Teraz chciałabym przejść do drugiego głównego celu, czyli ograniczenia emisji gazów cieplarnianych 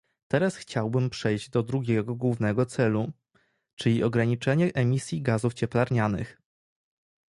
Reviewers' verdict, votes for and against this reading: rejected, 0, 2